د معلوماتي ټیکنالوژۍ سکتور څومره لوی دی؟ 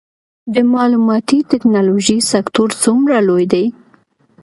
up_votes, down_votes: 2, 0